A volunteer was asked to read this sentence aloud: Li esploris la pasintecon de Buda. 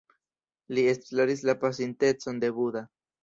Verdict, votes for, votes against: accepted, 2, 0